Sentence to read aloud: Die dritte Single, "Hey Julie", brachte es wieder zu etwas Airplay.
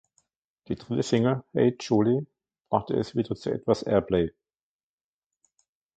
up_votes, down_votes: 0, 2